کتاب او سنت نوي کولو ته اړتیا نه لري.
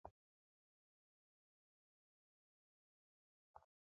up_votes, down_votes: 0, 2